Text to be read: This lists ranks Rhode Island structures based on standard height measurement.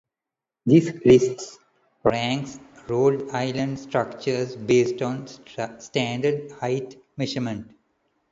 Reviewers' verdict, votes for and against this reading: rejected, 0, 2